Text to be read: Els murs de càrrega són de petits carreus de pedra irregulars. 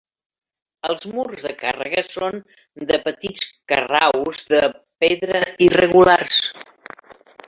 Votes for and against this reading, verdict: 0, 2, rejected